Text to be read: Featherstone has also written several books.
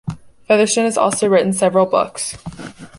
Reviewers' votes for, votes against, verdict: 2, 1, accepted